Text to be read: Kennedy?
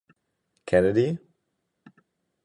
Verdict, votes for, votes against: accepted, 4, 0